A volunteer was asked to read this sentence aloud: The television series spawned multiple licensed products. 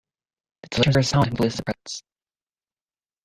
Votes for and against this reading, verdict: 0, 2, rejected